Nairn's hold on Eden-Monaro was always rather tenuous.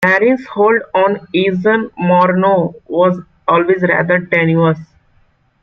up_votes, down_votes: 2, 1